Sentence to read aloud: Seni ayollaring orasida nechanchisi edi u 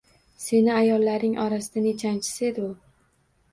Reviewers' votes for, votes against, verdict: 1, 2, rejected